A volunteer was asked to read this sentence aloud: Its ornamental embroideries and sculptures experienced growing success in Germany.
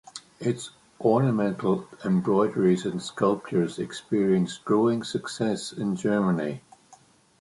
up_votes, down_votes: 2, 0